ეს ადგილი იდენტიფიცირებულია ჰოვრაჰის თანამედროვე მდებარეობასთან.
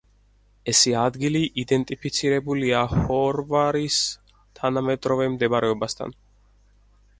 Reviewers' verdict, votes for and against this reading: rejected, 0, 4